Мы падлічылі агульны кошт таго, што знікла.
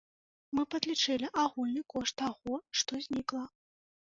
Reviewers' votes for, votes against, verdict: 2, 0, accepted